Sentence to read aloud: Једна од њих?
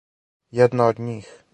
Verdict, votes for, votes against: accepted, 4, 0